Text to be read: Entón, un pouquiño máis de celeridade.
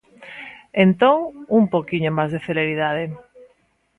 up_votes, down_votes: 2, 0